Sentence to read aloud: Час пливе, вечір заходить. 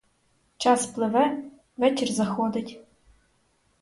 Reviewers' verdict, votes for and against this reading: accepted, 4, 0